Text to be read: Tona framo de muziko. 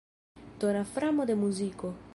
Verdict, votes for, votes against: accepted, 2, 0